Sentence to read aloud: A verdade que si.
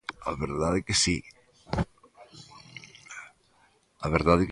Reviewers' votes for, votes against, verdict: 0, 2, rejected